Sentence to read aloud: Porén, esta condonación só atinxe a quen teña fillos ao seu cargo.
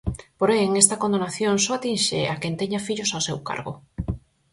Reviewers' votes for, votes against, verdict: 4, 0, accepted